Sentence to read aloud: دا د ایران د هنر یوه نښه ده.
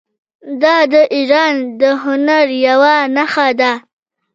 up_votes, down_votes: 2, 0